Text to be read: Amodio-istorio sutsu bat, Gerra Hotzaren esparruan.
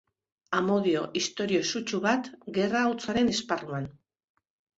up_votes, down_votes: 2, 0